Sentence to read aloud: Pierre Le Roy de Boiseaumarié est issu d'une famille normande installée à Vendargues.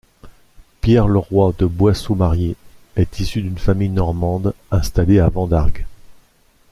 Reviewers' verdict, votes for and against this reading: accepted, 2, 0